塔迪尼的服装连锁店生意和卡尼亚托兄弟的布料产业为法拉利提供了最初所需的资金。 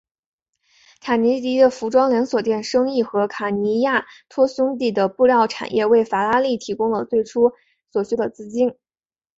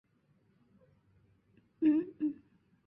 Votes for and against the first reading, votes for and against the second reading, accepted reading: 3, 1, 0, 2, first